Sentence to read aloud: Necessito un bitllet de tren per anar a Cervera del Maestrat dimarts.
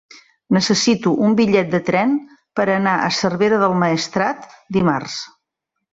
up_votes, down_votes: 3, 0